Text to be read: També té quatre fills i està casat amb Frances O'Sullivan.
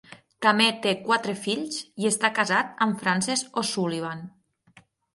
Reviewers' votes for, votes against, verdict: 3, 6, rejected